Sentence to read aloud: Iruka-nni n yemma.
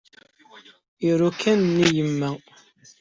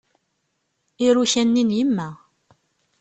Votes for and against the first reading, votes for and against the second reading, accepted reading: 1, 2, 2, 0, second